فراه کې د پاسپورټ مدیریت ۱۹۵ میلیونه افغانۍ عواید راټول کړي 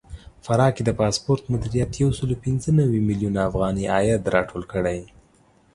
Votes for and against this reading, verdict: 0, 2, rejected